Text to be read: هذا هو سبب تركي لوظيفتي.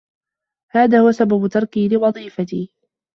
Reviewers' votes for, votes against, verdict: 2, 1, accepted